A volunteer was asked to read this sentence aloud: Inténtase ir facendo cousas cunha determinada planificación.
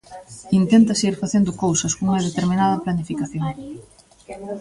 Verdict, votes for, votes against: rejected, 1, 2